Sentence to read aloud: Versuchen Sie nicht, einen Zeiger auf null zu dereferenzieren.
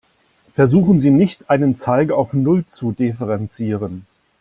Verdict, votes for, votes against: rejected, 1, 2